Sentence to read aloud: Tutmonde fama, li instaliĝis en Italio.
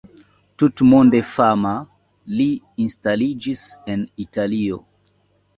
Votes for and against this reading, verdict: 2, 0, accepted